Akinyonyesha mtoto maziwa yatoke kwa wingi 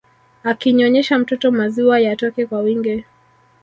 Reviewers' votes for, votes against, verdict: 1, 2, rejected